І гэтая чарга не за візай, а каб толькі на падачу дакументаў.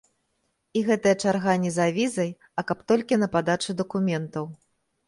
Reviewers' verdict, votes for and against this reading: accepted, 2, 0